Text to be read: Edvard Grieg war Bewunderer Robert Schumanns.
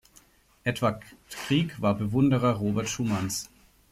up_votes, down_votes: 1, 2